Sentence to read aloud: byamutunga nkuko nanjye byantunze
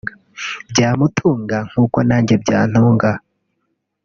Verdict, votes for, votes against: rejected, 0, 2